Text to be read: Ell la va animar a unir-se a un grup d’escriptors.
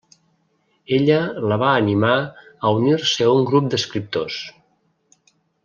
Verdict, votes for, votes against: rejected, 0, 2